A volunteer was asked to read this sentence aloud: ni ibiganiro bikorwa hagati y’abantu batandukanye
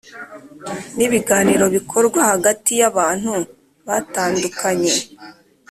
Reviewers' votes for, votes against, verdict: 2, 0, accepted